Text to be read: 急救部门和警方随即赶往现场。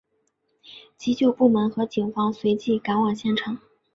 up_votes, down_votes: 2, 0